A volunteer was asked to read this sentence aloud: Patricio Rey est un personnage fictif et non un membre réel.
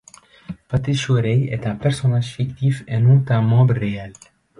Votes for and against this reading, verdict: 1, 2, rejected